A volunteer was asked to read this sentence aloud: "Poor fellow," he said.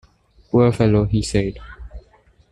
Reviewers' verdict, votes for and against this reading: accepted, 2, 0